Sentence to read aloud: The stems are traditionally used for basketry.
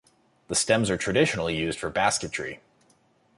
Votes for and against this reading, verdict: 2, 1, accepted